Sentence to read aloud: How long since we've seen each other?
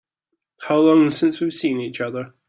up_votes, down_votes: 2, 0